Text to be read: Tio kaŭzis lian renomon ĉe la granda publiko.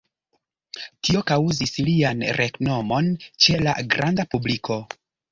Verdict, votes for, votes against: accepted, 2, 0